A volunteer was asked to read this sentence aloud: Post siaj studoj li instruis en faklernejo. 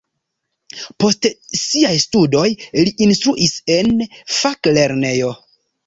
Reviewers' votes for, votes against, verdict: 2, 0, accepted